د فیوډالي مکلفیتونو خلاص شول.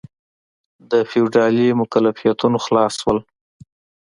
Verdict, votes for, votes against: accepted, 2, 0